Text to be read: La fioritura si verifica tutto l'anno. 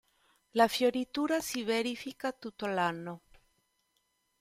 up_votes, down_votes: 2, 0